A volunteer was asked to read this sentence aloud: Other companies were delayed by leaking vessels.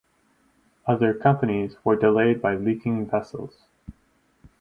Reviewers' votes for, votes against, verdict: 4, 0, accepted